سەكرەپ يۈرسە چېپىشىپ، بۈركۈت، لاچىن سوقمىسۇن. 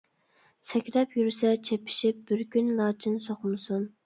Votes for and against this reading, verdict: 0, 2, rejected